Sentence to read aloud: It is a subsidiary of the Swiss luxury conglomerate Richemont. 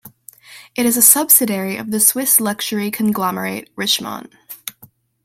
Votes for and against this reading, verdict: 2, 0, accepted